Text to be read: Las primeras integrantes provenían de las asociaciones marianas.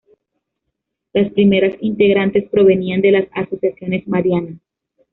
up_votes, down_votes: 2, 0